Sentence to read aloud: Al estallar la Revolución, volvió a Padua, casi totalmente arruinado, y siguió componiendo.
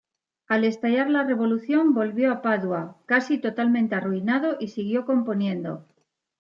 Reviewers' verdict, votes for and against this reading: accepted, 2, 0